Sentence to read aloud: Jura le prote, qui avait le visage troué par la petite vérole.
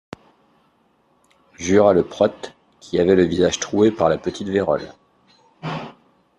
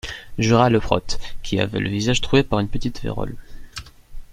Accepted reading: first